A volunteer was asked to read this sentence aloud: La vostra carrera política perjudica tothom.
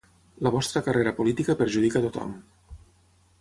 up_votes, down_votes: 6, 0